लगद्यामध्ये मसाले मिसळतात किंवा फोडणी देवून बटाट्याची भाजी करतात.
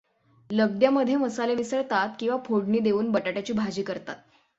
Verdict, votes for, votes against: accepted, 6, 0